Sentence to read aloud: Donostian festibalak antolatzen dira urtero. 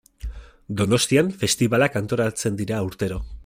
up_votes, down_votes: 2, 0